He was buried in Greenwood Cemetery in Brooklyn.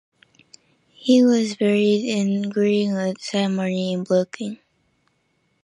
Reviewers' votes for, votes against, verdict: 0, 2, rejected